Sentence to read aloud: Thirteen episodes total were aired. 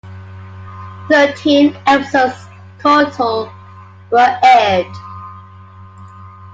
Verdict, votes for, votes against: accepted, 2, 0